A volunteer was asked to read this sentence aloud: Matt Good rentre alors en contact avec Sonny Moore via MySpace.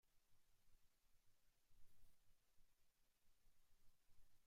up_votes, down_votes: 0, 2